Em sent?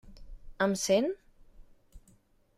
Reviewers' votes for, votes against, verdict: 3, 0, accepted